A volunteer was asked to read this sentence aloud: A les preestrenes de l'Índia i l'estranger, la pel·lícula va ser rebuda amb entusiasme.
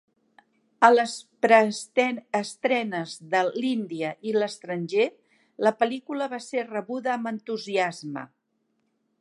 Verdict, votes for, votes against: rejected, 0, 2